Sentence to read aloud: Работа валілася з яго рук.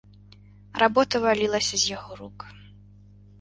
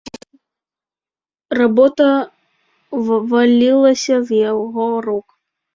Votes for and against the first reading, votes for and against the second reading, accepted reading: 2, 0, 1, 2, first